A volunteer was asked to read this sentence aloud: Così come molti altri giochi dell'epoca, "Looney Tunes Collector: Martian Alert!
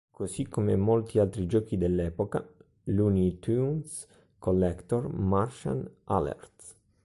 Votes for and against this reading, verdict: 2, 0, accepted